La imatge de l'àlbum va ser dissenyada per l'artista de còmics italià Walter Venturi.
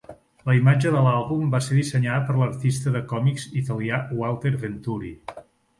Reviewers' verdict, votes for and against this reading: accepted, 3, 0